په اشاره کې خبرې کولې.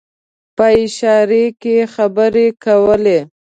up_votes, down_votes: 2, 0